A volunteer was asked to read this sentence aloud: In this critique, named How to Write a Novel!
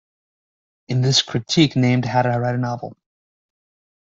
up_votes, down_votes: 2, 1